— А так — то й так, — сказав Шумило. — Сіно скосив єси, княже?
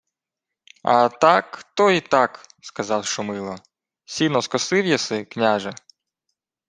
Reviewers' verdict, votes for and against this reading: accepted, 2, 0